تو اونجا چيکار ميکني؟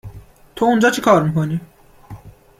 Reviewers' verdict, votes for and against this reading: accepted, 2, 0